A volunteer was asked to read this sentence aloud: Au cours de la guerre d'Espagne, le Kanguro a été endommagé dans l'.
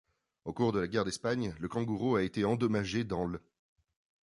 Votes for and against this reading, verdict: 1, 2, rejected